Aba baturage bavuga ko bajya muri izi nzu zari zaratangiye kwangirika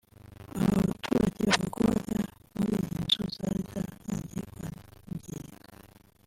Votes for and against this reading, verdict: 1, 3, rejected